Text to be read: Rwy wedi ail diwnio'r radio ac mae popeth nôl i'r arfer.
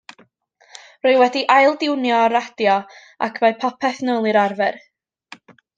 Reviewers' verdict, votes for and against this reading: accepted, 2, 0